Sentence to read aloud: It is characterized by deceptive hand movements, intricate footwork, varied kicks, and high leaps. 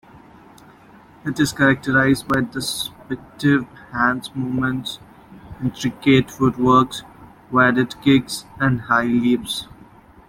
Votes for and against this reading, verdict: 2, 1, accepted